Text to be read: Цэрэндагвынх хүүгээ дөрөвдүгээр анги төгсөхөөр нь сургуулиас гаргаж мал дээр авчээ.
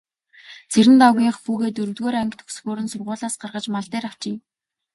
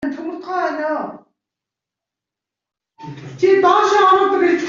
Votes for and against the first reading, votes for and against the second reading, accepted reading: 2, 0, 0, 2, first